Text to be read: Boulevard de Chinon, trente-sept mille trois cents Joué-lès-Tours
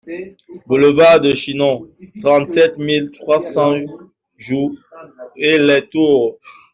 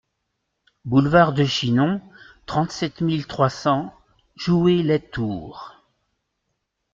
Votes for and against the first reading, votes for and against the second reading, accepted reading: 1, 2, 2, 0, second